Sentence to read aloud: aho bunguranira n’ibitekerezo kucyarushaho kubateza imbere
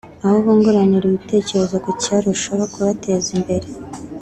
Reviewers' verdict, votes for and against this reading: accepted, 3, 0